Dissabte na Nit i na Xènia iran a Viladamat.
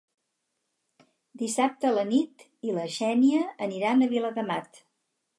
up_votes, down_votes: 2, 4